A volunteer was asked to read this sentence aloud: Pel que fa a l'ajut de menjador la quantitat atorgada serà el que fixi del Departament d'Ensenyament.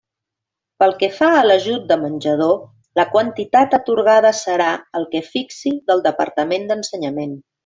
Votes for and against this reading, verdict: 3, 0, accepted